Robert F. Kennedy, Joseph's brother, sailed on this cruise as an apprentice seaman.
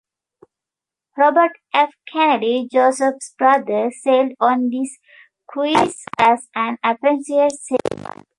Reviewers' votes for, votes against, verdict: 0, 2, rejected